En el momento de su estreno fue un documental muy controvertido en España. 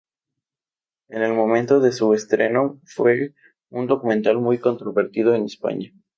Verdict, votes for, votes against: accepted, 4, 0